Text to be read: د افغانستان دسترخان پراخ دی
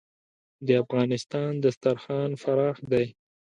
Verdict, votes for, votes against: rejected, 1, 2